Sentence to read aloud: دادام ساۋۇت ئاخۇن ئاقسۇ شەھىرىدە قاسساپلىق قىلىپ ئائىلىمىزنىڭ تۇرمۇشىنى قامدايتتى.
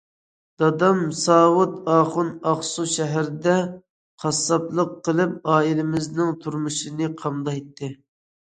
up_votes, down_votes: 2, 0